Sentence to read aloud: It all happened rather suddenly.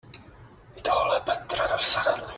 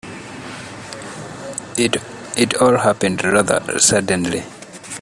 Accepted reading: first